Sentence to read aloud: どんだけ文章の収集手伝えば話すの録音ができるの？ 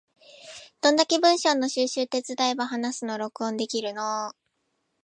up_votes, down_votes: 1, 3